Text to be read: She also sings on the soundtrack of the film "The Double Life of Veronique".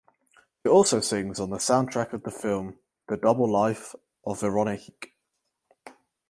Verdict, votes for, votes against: rejected, 2, 4